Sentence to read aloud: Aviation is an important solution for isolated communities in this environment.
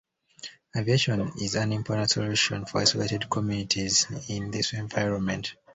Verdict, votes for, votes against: accepted, 2, 0